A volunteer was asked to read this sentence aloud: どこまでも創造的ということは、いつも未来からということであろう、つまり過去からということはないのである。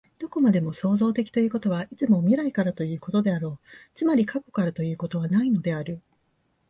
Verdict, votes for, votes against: accepted, 2, 0